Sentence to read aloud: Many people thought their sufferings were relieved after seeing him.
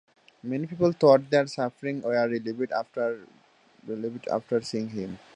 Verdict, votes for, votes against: accepted, 2, 1